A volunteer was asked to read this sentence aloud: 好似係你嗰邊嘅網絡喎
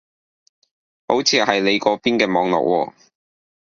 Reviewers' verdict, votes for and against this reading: accepted, 2, 0